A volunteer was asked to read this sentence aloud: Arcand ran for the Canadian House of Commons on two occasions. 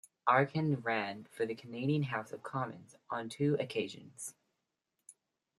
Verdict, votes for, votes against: accepted, 2, 0